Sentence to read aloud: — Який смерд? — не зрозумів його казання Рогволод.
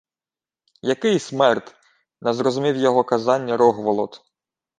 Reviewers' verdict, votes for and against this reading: accepted, 2, 0